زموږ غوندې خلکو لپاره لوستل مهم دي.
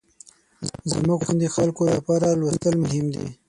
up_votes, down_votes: 3, 6